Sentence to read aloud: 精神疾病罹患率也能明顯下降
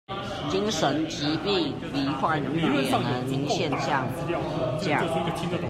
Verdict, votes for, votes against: rejected, 0, 2